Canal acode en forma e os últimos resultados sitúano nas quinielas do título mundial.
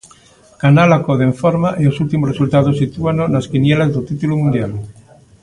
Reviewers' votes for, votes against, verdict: 2, 0, accepted